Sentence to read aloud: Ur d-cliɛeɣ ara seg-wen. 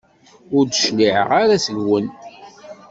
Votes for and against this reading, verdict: 2, 0, accepted